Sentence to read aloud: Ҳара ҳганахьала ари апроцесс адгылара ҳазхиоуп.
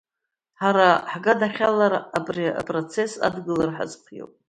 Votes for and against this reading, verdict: 2, 1, accepted